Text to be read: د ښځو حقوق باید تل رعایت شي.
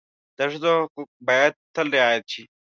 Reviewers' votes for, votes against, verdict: 0, 2, rejected